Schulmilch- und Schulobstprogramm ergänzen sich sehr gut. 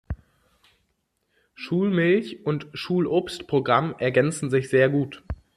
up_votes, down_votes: 2, 0